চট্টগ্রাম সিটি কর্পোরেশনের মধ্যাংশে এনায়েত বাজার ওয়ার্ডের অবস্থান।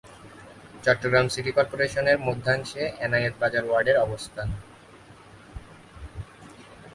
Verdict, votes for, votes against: accepted, 36, 8